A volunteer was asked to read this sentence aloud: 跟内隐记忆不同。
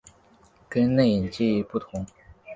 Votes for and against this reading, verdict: 2, 0, accepted